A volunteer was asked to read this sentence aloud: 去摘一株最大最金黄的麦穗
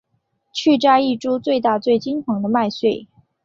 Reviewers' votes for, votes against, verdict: 8, 1, accepted